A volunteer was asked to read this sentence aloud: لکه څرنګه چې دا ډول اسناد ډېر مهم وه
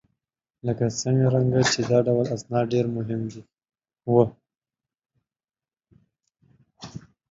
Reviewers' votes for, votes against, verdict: 1, 2, rejected